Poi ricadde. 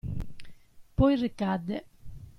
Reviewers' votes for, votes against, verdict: 2, 0, accepted